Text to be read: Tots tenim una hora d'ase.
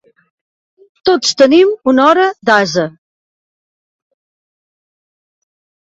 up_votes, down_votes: 1, 2